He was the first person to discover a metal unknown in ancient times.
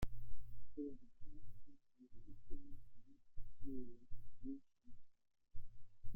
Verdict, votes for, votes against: rejected, 0, 2